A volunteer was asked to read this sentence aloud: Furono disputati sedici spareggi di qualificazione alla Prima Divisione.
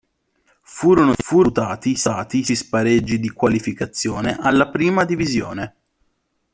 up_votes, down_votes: 0, 2